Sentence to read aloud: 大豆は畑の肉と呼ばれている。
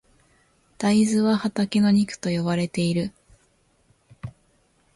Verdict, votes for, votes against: accepted, 2, 0